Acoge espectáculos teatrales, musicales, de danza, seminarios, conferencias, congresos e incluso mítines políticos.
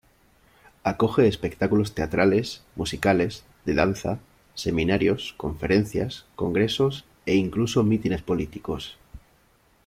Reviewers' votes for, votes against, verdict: 2, 0, accepted